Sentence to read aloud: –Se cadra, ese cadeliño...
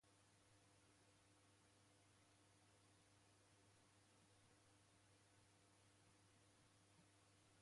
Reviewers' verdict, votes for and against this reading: rejected, 0, 2